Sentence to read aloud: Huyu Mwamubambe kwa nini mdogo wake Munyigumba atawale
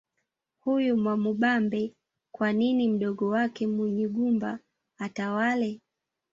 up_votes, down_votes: 1, 2